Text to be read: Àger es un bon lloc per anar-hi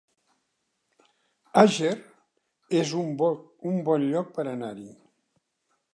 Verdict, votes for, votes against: rejected, 1, 3